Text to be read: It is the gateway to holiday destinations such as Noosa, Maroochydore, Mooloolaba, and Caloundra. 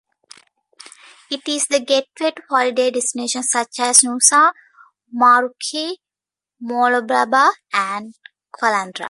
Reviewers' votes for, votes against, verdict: 1, 2, rejected